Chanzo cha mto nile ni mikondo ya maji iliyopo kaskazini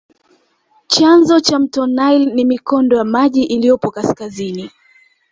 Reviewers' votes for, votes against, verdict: 1, 2, rejected